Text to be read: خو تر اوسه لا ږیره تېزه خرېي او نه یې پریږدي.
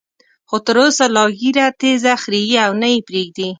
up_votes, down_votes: 3, 0